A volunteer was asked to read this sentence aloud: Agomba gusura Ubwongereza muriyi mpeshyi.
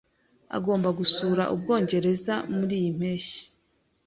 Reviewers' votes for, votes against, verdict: 2, 0, accepted